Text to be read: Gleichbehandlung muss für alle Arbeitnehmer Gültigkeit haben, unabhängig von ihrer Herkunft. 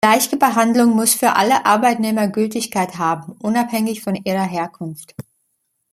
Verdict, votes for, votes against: rejected, 0, 2